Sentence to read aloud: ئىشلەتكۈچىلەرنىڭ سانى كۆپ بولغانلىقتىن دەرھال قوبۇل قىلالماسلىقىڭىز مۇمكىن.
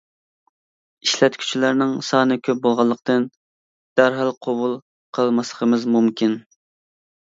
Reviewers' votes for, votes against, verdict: 1, 2, rejected